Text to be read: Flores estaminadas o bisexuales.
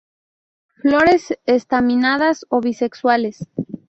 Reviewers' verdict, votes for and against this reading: accepted, 2, 0